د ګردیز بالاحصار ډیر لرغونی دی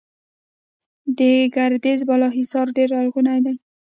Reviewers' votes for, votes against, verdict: 1, 2, rejected